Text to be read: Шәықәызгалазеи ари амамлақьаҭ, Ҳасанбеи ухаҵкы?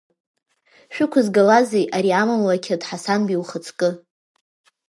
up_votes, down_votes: 1, 2